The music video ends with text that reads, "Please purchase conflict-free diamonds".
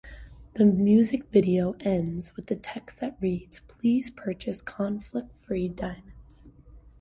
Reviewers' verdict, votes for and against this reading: rejected, 1, 2